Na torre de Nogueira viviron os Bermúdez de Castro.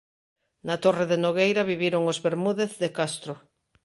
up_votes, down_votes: 2, 0